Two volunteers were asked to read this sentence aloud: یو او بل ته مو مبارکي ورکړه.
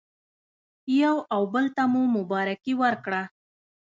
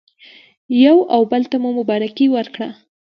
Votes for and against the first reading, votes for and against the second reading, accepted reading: 1, 2, 2, 0, second